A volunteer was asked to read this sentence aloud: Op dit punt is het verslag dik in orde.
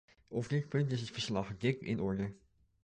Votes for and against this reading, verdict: 0, 2, rejected